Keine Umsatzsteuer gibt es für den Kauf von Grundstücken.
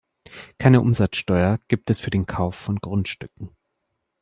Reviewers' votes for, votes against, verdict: 2, 0, accepted